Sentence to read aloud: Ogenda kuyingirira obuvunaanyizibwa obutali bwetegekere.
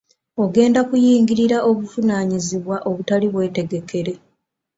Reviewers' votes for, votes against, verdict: 3, 0, accepted